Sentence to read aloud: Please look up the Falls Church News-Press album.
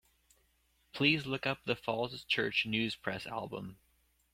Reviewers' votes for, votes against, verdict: 2, 0, accepted